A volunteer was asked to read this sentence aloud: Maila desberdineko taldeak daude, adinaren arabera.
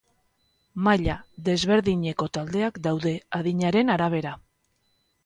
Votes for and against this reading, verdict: 2, 0, accepted